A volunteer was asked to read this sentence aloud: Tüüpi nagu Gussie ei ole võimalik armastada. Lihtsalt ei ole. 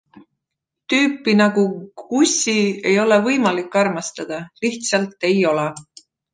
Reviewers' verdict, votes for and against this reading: accepted, 2, 1